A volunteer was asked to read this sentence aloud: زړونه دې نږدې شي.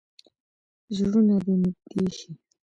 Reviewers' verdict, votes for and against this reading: accepted, 2, 1